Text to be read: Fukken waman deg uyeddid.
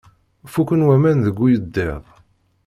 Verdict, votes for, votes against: rejected, 1, 2